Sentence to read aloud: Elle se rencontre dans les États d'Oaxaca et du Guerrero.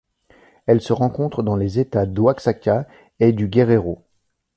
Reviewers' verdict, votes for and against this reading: accepted, 2, 0